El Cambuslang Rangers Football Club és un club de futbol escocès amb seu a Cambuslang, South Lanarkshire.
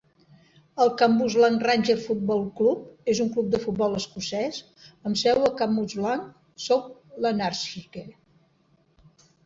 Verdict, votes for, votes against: rejected, 1, 2